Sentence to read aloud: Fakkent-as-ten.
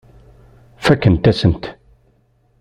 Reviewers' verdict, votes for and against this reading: rejected, 0, 2